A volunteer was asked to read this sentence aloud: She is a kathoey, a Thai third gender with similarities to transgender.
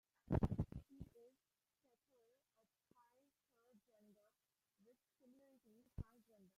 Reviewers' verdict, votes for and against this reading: rejected, 0, 2